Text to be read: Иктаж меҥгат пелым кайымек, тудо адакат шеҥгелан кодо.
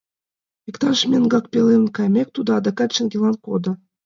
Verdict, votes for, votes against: accepted, 2, 0